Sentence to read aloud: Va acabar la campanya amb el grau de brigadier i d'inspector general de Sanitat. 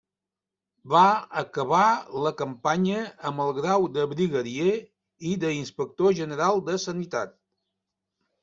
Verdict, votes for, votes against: rejected, 0, 2